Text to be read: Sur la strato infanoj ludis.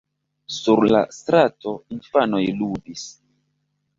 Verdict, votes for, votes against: accepted, 2, 0